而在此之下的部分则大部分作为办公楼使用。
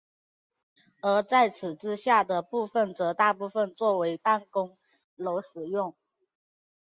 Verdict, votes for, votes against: accepted, 2, 0